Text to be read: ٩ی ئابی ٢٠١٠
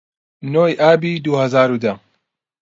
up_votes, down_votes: 0, 2